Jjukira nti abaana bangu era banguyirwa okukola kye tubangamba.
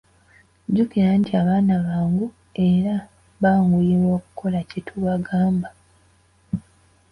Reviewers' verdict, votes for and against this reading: rejected, 2, 4